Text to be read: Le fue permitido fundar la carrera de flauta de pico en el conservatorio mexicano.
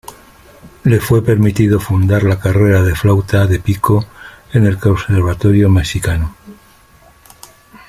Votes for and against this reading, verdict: 2, 0, accepted